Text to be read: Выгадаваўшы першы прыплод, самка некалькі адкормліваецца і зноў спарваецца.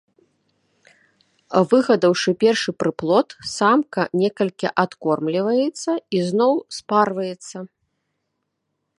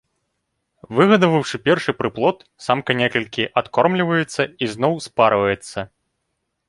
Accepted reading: second